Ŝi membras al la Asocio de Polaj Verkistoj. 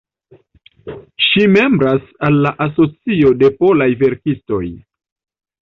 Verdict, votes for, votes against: accepted, 2, 0